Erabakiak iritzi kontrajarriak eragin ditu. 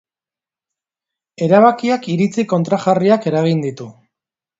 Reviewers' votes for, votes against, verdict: 2, 0, accepted